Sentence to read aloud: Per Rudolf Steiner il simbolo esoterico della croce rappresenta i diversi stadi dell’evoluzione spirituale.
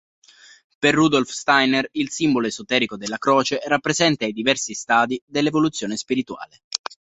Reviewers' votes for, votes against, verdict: 2, 0, accepted